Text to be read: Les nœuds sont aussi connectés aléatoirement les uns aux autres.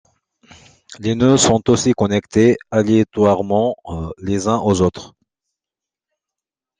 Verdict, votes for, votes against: rejected, 1, 2